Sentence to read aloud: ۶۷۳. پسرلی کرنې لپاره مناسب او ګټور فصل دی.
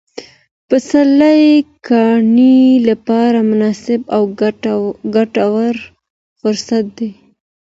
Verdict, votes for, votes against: rejected, 0, 2